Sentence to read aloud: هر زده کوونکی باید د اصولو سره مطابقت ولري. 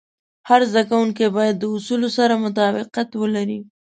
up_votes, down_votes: 2, 0